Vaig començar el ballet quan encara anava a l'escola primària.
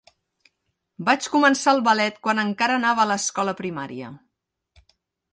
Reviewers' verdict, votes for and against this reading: rejected, 1, 2